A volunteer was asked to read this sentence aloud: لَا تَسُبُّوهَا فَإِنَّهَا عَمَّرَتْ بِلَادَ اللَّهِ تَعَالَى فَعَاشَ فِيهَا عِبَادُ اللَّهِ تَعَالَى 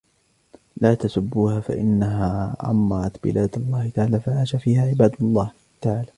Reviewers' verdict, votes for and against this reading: rejected, 1, 2